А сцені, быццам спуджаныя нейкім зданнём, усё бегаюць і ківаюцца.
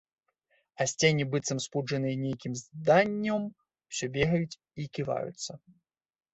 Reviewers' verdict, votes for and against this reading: rejected, 0, 2